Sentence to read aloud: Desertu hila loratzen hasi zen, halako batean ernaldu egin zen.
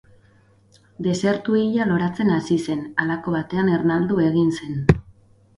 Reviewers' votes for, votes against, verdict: 4, 0, accepted